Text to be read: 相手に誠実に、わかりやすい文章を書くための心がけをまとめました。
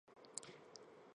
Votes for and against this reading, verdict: 1, 2, rejected